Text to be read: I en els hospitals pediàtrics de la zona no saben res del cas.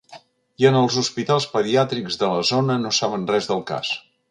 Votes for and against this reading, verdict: 3, 0, accepted